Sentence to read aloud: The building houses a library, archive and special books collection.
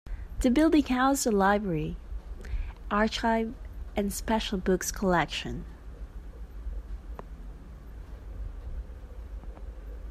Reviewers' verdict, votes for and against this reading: rejected, 0, 2